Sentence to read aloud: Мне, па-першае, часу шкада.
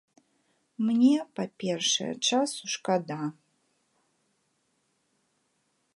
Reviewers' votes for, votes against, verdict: 2, 0, accepted